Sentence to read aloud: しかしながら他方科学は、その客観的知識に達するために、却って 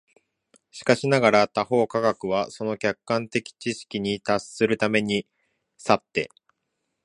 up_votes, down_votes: 1, 2